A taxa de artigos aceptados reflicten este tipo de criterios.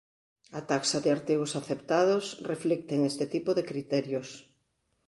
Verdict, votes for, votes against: rejected, 1, 2